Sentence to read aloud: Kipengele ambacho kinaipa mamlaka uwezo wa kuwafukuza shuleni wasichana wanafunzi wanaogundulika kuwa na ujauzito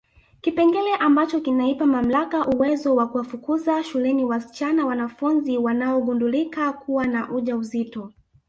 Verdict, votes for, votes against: rejected, 1, 2